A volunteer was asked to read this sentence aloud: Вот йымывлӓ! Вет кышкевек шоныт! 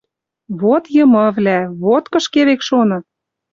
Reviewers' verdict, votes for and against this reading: rejected, 0, 2